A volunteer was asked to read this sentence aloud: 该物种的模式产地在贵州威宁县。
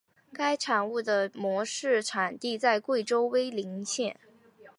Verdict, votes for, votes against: rejected, 0, 2